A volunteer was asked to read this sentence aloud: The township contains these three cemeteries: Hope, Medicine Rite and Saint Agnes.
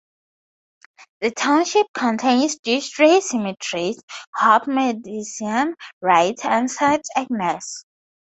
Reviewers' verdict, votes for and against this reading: accepted, 4, 0